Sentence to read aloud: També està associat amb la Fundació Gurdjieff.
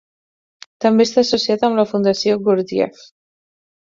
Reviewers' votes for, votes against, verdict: 4, 0, accepted